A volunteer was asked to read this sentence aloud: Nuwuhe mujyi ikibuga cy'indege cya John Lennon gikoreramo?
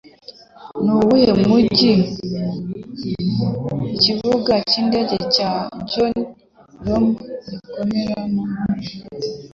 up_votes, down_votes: 0, 2